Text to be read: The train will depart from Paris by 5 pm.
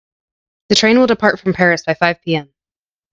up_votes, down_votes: 0, 2